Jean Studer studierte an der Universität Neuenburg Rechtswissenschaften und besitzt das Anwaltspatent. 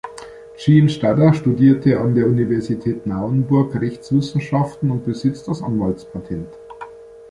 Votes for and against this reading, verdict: 0, 2, rejected